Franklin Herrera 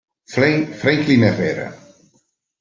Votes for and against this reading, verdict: 0, 2, rejected